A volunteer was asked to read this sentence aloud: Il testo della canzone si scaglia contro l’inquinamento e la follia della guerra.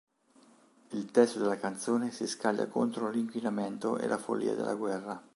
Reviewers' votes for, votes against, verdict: 3, 0, accepted